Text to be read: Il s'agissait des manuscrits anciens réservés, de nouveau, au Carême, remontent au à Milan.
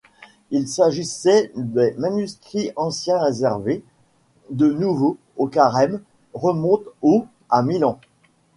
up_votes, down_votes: 0, 2